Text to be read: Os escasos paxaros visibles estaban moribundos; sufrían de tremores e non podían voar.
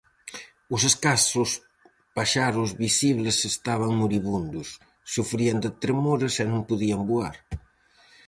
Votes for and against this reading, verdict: 4, 0, accepted